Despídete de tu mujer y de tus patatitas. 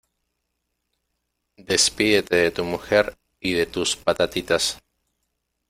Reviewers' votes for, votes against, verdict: 2, 0, accepted